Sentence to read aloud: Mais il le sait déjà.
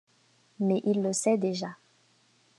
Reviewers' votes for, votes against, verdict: 2, 0, accepted